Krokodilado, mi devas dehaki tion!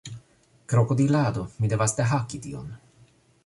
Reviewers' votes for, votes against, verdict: 2, 0, accepted